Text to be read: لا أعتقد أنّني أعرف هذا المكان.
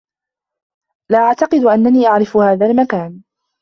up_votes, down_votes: 2, 0